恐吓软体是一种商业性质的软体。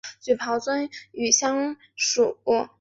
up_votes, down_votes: 0, 2